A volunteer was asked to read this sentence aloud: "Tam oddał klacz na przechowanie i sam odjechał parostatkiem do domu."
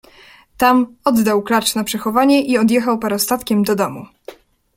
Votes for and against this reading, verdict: 0, 2, rejected